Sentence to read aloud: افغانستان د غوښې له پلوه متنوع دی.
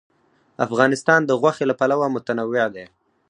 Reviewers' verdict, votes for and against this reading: rejected, 0, 4